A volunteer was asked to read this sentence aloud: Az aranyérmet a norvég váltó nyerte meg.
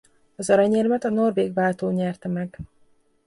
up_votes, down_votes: 3, 0